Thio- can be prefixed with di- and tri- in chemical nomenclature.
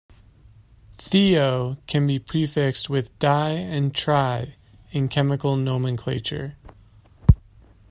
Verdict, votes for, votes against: accepted, 2, 0